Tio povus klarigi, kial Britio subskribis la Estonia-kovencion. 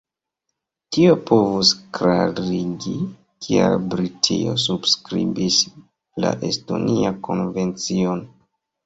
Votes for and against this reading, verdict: 1, 2, rejected